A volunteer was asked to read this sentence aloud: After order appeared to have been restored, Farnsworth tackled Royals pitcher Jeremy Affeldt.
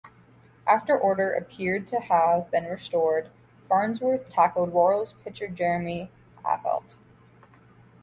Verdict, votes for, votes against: accepted, 2, 0